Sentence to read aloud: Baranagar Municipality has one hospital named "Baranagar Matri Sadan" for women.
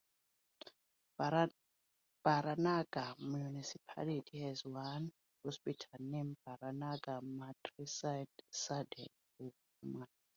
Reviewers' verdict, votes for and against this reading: rejected, 0, 2